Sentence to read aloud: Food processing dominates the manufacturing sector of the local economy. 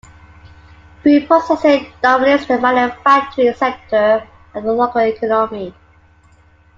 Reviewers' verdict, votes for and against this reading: accepted, 2, 1